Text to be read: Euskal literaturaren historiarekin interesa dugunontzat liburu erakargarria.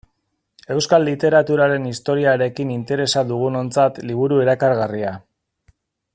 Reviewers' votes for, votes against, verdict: 2, 0, accepted